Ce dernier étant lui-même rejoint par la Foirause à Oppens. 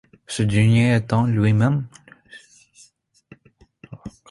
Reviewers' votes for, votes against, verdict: 0, 2, rejected